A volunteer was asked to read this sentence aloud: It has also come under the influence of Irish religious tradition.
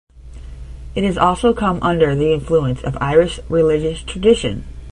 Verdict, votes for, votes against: rejected, 5, 5